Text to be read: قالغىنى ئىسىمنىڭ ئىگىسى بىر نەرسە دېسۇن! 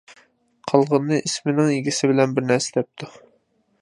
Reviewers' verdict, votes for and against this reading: rejected, 0, 2